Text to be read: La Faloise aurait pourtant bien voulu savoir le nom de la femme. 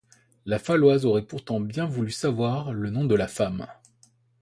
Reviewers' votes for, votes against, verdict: 2, 1, accepted